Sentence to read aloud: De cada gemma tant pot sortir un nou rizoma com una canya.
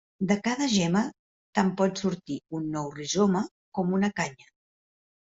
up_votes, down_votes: 2, 0